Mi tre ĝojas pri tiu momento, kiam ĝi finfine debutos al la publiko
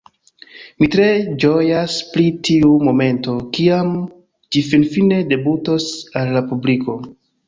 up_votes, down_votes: 3, 0